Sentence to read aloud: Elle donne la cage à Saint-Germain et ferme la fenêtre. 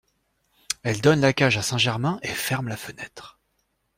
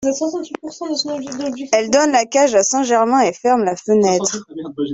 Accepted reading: first